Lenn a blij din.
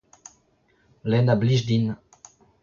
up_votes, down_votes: 0, 2